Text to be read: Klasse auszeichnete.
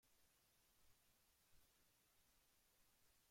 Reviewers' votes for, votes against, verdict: 0, 2, rejected